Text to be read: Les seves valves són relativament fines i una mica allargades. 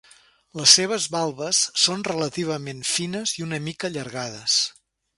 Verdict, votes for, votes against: accepted, 3, 0